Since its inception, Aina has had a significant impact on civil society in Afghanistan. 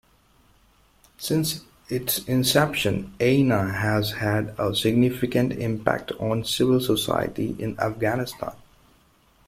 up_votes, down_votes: 2, 0